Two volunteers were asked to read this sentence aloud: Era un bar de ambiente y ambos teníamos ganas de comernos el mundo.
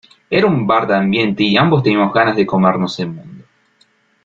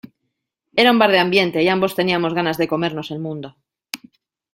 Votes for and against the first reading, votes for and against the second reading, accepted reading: 1, 2, 2, 0, second